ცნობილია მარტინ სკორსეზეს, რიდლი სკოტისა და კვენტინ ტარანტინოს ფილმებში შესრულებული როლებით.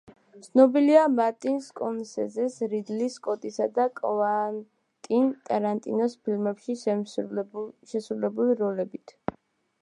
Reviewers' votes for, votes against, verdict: 1, 2, rejected